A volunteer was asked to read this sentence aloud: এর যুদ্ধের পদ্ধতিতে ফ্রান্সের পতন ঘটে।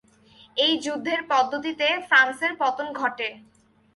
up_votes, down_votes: 0, 2